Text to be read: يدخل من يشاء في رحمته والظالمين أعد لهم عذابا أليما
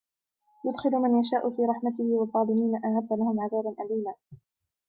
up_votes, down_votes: 1, 2